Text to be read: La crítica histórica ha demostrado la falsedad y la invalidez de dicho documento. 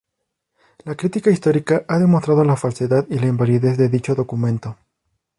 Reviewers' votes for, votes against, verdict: 2, 0, accepted